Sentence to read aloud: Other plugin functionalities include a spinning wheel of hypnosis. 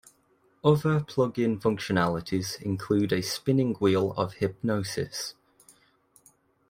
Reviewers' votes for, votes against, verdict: 2, 1, accepted